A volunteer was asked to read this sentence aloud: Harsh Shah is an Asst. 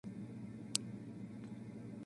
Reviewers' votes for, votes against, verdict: 0, 2, rejected